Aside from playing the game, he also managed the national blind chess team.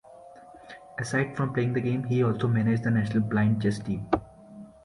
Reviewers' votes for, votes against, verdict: 2, 0, accepted